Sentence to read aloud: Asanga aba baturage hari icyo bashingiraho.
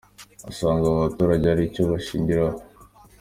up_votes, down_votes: 2, 1